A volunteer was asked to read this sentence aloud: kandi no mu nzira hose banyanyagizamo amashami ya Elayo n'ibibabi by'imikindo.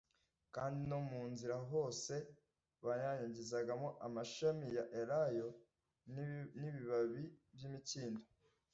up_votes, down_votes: 0, 2